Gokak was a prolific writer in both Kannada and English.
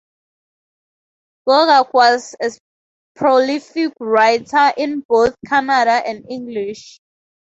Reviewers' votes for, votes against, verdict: 0, 2, rejected